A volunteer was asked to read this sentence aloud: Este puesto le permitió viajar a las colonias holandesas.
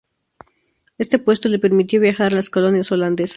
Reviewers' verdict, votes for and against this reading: accepted, 2, 0